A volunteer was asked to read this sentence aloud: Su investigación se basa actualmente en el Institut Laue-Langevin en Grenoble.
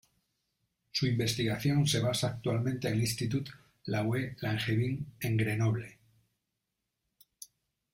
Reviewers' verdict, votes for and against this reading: accepted, 2, 0